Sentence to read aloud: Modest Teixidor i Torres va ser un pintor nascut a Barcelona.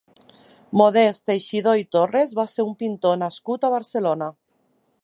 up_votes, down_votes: 4, 0